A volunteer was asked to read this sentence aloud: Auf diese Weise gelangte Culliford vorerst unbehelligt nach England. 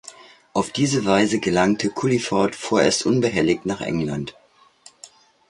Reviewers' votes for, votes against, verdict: 2, 0, accepted